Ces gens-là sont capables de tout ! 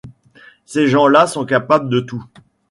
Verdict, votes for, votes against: accepted, 2, 1